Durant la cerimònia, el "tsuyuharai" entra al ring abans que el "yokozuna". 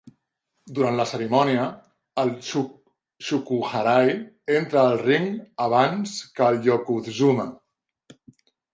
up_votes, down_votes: 0, 2